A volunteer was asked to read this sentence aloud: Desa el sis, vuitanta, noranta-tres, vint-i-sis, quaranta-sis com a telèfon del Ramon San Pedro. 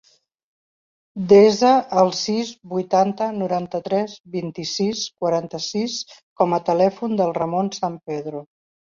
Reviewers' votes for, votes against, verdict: 2, 0, accepted